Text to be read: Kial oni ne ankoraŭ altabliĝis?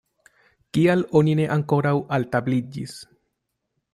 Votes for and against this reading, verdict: 2, 0, accepted